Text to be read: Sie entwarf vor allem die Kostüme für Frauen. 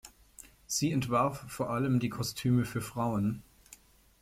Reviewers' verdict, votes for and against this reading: accepted, 2, 0